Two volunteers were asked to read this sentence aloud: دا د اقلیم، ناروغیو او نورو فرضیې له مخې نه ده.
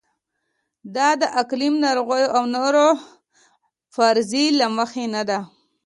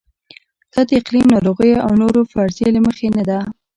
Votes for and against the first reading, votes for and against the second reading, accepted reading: 2, 1, 0, 2, first